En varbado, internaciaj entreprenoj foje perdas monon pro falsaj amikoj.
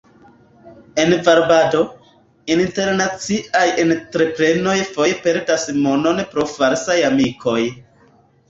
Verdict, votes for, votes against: accepted, 2, 0